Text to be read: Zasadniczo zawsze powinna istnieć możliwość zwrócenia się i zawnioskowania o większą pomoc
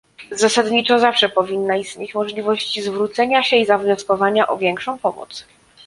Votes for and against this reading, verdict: 2, 0, accepted